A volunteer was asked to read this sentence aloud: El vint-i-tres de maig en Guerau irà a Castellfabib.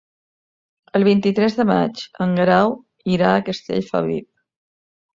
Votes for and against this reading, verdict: 3, 0, accepted